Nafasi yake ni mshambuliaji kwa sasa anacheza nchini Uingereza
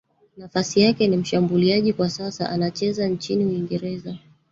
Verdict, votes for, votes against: accepted, 23, 2